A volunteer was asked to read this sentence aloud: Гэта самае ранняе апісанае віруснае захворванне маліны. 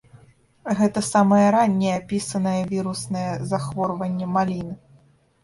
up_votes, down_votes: 2, 1